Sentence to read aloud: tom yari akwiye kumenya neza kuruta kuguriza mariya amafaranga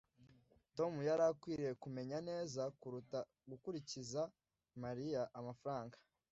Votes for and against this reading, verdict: 0, 2, rejected